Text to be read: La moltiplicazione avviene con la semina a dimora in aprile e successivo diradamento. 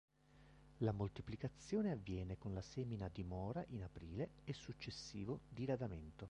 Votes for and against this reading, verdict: 1, 2, rejected